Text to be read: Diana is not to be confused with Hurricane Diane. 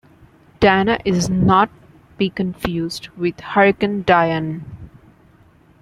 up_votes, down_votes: 1, 2